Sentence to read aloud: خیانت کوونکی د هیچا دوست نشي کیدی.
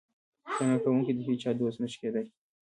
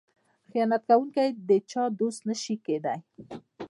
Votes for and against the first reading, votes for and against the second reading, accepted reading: 0, 2, 2, 0, second